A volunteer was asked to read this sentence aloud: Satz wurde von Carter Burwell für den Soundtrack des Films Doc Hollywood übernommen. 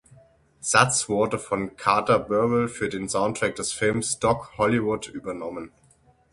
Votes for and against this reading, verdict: 6, 0, accepted